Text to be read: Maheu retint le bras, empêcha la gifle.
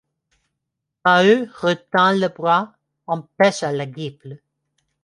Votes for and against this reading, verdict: 1, 2, rejected